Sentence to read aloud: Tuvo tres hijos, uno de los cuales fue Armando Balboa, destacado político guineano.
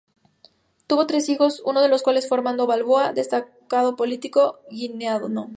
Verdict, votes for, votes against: accepted, 2, 0